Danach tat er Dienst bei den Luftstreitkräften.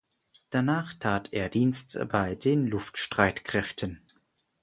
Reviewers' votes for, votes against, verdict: 4, 0, accepted